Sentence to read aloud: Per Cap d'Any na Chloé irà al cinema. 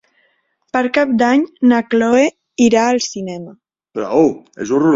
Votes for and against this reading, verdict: 0, 4, rejected